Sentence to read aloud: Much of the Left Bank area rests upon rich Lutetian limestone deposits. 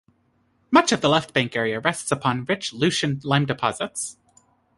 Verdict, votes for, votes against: rejected, 1, 2